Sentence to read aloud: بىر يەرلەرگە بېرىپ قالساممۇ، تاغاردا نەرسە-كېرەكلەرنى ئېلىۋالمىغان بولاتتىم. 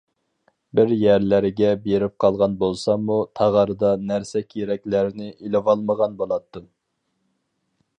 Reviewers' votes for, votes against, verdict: 0, 4, rejected